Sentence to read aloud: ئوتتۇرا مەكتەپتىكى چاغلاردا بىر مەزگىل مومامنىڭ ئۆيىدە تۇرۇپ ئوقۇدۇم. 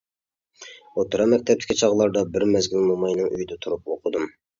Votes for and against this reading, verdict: 1, 2, rejected